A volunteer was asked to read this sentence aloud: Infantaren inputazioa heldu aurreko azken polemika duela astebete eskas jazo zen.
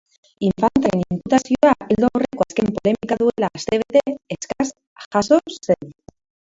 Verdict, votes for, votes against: rejected, 0, 2